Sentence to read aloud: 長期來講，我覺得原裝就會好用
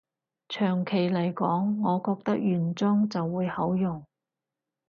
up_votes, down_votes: 2, 4